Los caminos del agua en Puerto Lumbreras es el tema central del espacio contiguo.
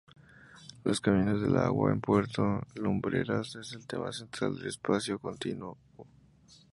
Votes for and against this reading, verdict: 2, 0, accepted